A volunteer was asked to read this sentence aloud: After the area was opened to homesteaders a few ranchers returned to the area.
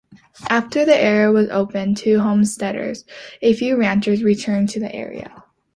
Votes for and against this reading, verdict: 2, 0, accepted